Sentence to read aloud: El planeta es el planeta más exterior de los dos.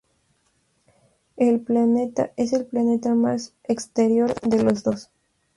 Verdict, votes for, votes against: rejected, 0, 2